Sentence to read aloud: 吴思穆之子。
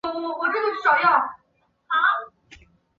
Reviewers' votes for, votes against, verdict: 0, 2, rejected